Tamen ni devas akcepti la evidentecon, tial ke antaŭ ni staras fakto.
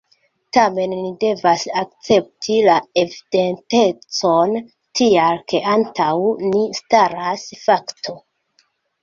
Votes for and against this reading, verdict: 2, 0, accepted